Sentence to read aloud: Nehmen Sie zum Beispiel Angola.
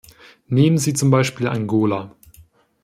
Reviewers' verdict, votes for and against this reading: accepted, 2, 0